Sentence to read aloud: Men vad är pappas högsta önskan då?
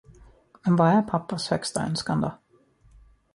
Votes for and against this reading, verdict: 2, 0, accepted